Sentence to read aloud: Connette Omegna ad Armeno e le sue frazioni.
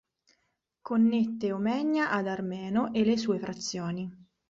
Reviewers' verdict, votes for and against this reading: accepted, 2, 0